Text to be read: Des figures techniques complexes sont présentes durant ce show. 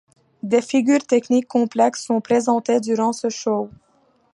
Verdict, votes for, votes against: rejected, 1, 2